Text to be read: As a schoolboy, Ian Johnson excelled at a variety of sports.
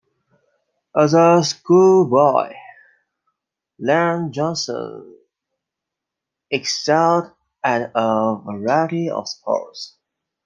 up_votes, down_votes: 1, 2